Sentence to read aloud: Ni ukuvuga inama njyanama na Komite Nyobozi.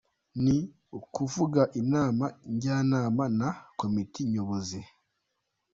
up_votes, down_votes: 2, 0